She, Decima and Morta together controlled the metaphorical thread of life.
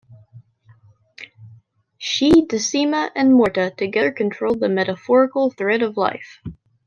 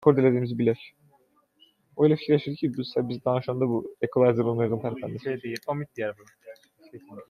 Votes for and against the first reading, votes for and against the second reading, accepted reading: 2, 0, 0, 2, first